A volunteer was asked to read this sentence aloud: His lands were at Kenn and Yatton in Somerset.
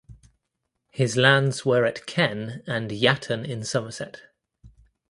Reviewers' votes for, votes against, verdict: 2, 0, accepted